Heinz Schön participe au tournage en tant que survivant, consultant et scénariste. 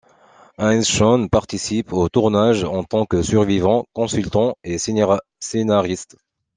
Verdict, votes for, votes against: accepted, 2, 1